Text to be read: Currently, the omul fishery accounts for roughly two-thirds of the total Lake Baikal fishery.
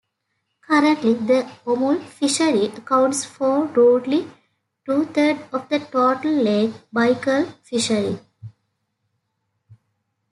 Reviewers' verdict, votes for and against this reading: rejected, 1, 2